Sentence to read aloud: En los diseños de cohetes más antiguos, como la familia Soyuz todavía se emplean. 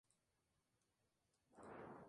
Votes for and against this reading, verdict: 0, 2, rejected